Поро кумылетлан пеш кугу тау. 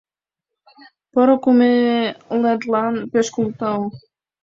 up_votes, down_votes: 0, 2